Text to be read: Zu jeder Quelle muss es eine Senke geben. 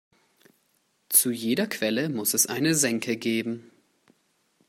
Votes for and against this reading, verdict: 2, 0, accepted